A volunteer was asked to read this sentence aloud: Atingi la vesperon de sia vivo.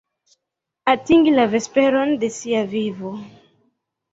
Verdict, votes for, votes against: accepted, 2, 1